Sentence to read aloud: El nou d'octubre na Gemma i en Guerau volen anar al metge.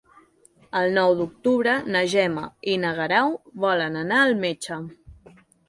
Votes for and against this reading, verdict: 0, 3, rejected